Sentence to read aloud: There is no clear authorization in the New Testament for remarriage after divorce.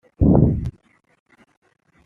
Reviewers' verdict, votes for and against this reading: rejected, 0, 2